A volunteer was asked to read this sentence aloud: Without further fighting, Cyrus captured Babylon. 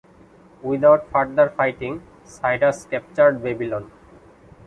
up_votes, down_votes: 2, 0